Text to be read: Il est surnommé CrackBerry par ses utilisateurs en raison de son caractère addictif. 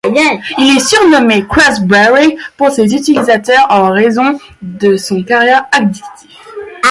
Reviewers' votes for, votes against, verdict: 0, 2, rejected